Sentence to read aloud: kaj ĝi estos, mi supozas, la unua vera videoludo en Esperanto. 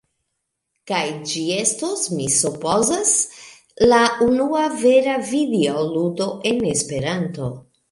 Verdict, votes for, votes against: accepted, 2, 1